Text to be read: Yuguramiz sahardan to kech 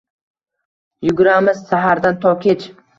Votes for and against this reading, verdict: 2, 0, accepted